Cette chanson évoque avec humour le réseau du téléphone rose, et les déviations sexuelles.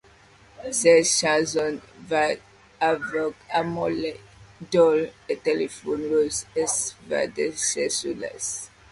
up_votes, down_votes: 0, 2